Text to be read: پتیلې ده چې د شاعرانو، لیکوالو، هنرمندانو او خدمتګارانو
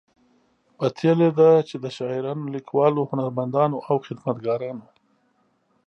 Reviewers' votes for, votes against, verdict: 2, 0, accepted